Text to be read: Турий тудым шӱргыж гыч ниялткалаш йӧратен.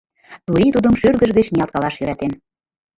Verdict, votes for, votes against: rejected, 2, 3